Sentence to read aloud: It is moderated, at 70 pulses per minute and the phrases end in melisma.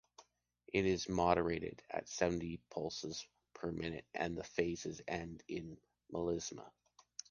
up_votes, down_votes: 0, 2